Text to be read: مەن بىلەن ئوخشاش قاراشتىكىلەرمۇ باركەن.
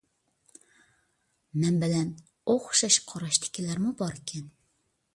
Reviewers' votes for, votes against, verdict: 2, 0, accepted